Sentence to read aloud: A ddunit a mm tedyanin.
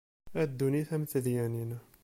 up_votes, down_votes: 2, 0